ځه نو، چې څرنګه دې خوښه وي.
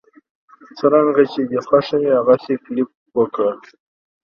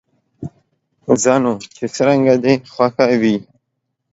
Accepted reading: second